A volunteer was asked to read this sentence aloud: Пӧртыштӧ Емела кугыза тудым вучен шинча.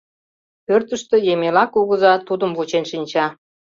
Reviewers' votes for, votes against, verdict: 2, 0, accepted